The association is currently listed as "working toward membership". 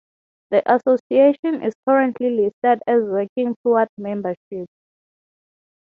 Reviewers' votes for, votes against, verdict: 3, 6, rejected